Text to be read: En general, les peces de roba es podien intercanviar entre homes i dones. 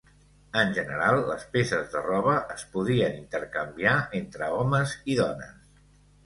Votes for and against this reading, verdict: 2, 0, accepted